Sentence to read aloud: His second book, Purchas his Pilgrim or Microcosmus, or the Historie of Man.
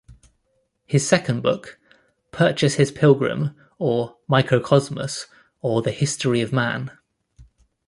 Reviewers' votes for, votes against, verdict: 2, 0, accepted